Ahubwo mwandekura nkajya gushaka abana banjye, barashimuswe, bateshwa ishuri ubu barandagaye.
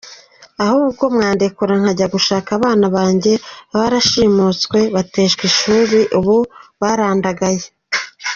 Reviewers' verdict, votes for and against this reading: accepted, 2, 1